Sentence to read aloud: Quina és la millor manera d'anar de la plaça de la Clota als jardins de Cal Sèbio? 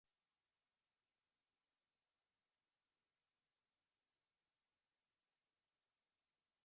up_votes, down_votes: 0, 2